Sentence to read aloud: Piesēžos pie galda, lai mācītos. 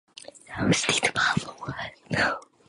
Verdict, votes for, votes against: rejected, 0, 2